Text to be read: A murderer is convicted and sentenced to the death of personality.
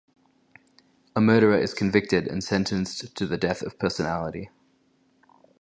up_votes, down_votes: 2, 0